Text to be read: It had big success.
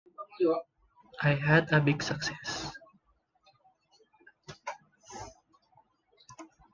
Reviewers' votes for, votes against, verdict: 0, 2, rejected